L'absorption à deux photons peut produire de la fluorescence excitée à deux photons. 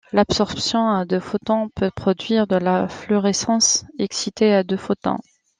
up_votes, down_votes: 2, 1